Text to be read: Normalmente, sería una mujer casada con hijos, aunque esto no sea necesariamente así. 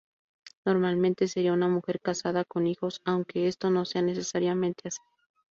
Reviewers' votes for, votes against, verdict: 2, 0, accepted